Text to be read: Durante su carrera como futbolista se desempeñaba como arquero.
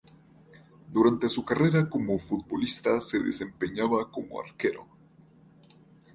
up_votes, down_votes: 0, 2